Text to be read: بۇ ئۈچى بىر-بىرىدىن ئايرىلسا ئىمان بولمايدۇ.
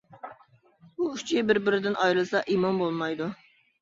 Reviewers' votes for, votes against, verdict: 0, 2, rejected